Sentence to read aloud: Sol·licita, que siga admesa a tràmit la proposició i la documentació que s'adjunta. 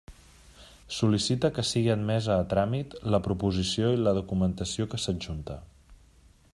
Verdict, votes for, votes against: accepted, 2, 1